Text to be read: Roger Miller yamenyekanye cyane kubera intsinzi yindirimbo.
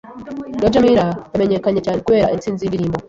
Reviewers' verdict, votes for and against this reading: rejected, 1, 2